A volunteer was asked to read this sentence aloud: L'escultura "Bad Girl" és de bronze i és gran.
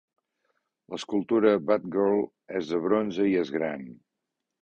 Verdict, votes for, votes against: accepted, 2, 0